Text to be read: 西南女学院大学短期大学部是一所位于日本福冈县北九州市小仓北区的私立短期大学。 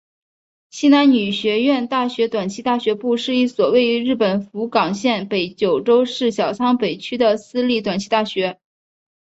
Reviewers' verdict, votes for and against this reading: accepted, 3, 1